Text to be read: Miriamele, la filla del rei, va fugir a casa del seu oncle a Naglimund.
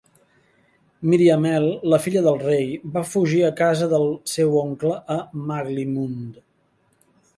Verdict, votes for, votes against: accepted, 2, 0